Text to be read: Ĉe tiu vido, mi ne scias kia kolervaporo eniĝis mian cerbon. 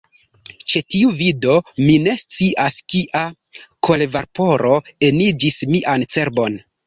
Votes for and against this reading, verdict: 0, 2, rejected